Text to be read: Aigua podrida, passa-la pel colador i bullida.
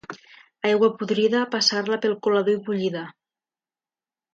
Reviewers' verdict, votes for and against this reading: rejected, 0, 2